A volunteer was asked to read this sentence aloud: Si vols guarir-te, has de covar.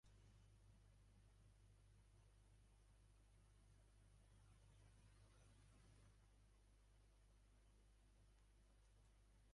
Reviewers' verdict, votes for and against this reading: rejected, 0, 3